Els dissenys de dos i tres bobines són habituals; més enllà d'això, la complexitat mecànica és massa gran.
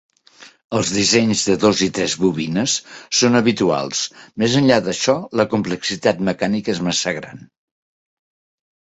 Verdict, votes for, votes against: rejected, 0, 2